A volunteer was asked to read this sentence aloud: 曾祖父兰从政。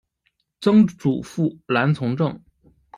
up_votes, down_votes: 1, 2